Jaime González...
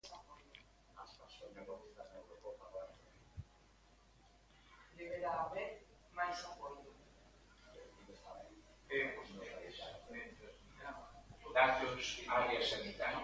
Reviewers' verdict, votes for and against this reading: rejected, 0, 2